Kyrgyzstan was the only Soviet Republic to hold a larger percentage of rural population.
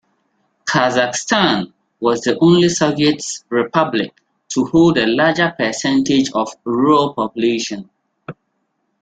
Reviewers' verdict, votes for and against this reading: rejected, 1, 2